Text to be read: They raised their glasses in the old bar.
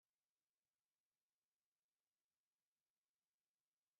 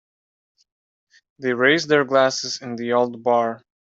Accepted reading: second